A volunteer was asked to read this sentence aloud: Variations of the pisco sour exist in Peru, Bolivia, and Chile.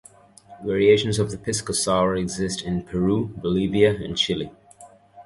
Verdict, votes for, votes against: accepted, 2, 0